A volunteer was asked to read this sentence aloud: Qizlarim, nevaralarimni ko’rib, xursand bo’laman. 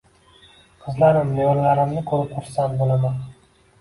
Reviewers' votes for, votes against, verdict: 2, 1, accepted